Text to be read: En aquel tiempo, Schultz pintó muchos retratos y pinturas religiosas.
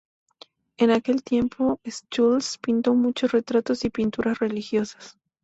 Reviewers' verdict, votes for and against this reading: accepted, 4, 0